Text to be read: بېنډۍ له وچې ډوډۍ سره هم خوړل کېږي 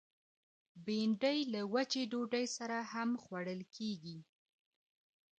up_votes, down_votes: 0, 2